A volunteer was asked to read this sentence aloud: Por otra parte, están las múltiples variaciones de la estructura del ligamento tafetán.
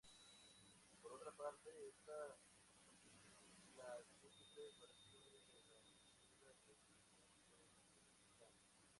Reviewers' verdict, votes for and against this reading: rejected, 0, 2